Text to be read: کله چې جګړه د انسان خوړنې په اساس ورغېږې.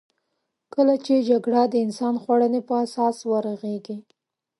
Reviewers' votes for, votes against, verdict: 2, 0, accepted